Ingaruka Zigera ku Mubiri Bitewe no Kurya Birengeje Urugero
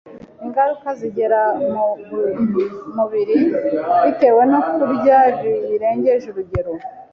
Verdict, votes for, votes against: rejected, 0, 2